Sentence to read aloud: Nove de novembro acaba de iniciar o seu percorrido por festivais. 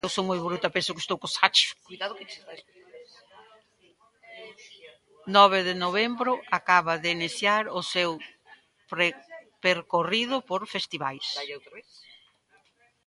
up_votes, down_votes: 0, 2